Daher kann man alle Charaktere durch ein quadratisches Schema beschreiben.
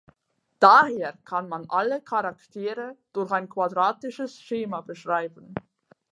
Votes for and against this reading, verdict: 4, 0, accepted